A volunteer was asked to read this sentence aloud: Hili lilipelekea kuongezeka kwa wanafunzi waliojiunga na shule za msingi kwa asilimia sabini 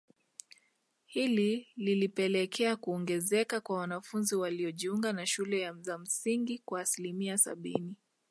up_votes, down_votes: 0, 2